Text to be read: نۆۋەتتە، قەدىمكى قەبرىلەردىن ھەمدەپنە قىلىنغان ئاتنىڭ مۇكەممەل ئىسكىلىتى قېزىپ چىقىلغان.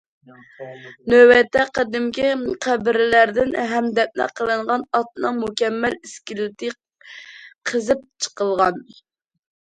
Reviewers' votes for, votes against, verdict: 2, 1, accepted